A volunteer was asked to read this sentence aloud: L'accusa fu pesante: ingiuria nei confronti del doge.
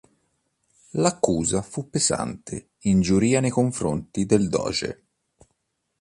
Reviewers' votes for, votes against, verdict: 1, 2, rejected